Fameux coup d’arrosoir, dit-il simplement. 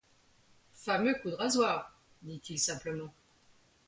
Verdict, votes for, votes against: rejected, 1, 2